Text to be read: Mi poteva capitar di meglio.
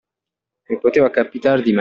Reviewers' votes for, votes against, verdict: 0, 2, rejected